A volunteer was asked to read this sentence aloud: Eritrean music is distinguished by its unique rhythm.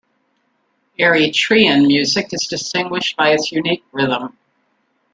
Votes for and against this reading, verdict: 1, 2, rejected